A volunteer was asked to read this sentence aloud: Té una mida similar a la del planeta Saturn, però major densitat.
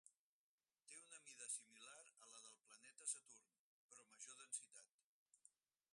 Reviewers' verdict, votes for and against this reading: accepted, 4, 0